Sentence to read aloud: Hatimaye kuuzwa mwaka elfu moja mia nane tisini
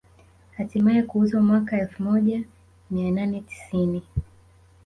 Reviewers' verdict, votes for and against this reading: rejected, 1, 2